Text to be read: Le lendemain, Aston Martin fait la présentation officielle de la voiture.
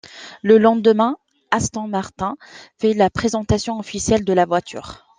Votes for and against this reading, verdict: 2, 1, accepted